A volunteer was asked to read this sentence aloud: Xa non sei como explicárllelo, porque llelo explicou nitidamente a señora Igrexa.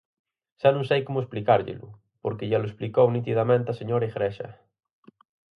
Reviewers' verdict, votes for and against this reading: accepted, 4, 0